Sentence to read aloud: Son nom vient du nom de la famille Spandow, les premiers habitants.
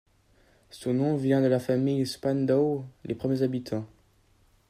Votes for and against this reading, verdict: 2, 3, rejected